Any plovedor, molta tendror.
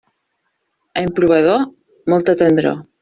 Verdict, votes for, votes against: accepted, 2, 1